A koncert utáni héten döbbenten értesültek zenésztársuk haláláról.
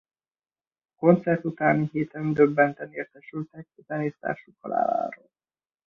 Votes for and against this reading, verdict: 1, 2, rejected